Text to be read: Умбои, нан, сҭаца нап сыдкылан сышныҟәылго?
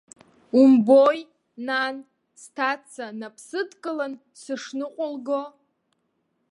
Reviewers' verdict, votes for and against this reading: accepted, 2, 0